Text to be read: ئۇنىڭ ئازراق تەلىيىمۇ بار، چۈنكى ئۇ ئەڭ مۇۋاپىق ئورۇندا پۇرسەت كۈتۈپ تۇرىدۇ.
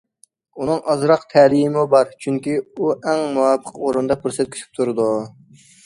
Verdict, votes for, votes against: accepted, 2, 0